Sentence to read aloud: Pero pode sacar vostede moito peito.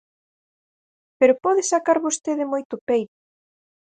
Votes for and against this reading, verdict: 2, 4, rejected